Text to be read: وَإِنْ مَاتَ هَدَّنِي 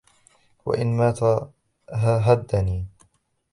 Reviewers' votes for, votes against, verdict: 0, 2, rejected